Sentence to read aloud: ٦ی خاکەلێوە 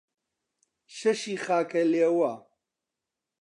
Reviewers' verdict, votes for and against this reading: rejected, 0, 2